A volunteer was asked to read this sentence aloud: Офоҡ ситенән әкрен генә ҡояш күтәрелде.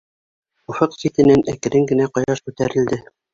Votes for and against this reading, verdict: 1, 2, rejected